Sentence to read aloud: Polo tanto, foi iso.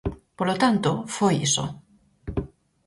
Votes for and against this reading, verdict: 4, 0, accepted